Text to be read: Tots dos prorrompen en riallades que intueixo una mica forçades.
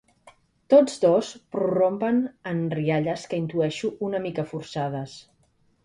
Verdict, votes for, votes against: accepted, 2, 1